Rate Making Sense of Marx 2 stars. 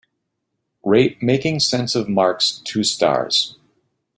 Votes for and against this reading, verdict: 0, 2, rejected